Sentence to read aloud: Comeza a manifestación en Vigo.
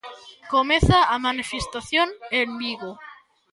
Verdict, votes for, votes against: rejected, 1, 2